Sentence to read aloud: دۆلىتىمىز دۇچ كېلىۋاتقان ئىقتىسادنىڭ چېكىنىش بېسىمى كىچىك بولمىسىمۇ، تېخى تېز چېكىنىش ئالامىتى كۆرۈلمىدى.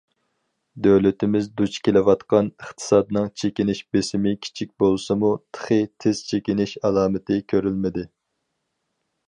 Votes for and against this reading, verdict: 0, 4, rejected